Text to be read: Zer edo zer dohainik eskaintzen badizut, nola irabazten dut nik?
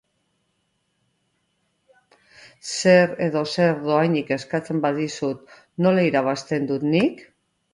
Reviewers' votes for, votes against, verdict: 2, 0, accepted